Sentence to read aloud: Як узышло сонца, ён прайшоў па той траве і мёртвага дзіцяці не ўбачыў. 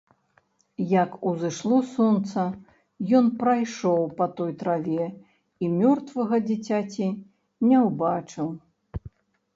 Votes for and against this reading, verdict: 1, 2, rejected